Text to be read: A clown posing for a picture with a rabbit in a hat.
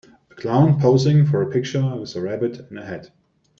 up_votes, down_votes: 1, 2